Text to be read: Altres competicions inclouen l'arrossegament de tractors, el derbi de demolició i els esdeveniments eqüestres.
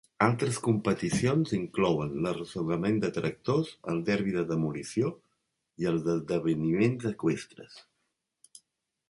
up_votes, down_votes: 4, 2